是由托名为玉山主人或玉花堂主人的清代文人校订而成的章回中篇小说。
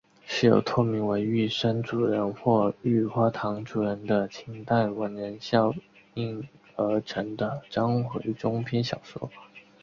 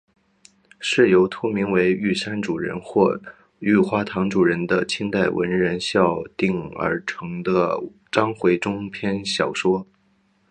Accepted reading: second